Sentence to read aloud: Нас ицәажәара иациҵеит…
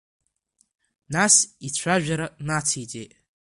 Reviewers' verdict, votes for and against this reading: rejected, 1, 2